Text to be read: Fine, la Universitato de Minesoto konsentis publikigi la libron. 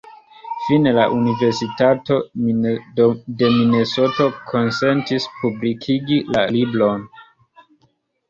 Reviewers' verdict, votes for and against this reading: rejected, 1, 2